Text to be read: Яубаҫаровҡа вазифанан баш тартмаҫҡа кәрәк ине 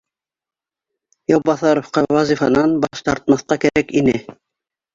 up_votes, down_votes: 2, 1